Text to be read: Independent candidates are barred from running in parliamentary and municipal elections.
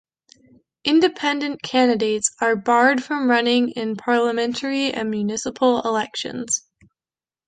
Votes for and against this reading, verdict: 2, 0, accepted